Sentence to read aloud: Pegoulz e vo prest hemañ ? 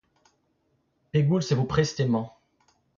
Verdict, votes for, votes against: accepted, 3, 2